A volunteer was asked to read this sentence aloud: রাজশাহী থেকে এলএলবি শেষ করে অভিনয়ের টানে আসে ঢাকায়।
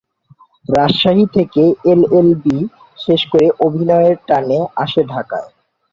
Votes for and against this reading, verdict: 7, 2, accepted